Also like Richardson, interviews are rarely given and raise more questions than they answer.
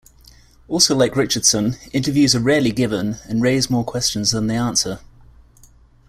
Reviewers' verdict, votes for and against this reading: accepted, 2, 0